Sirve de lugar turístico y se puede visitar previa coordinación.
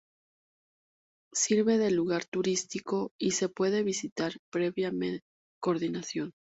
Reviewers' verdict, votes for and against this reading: accepted, 2, 0